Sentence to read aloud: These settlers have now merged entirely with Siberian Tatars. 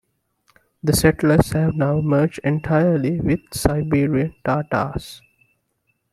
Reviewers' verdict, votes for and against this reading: rejected, 0, 2